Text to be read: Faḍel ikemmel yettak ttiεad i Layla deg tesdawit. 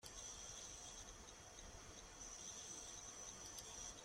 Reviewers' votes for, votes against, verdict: 0, 2, rejected